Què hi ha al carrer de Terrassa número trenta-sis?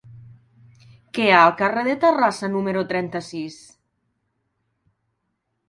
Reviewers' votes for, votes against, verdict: 1, 2, rejected